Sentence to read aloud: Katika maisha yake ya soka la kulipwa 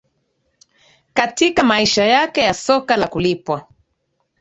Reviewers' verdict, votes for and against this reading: accepted, 2, 1